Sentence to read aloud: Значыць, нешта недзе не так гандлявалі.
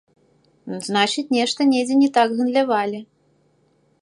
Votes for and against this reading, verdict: 2, 0, accepted